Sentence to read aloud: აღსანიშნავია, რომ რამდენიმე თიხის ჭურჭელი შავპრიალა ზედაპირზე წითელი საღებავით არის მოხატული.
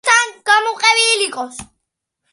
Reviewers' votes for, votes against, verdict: 0, 2, rejected